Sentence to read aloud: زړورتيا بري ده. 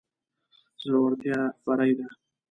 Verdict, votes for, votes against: accepted, 2, 0